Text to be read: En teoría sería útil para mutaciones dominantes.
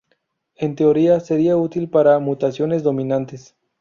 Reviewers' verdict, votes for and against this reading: accepted, 4, 0